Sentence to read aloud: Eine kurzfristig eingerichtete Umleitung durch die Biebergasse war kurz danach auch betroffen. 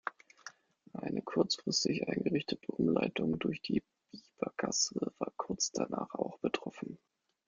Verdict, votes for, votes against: rejected, 1, 2